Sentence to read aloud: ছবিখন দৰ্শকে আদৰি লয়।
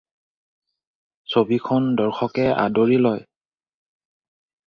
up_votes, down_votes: 2, 0